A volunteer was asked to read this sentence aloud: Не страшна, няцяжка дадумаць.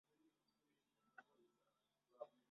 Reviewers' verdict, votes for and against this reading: rejected, 0, 2